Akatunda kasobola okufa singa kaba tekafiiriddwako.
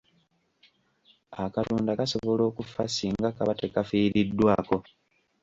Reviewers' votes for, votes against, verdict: 1, 3, rejected